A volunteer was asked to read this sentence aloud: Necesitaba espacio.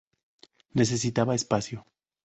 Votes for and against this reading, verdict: 2, 0, accepted